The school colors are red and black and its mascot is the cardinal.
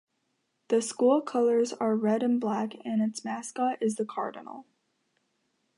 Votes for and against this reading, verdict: 1, 2, rejected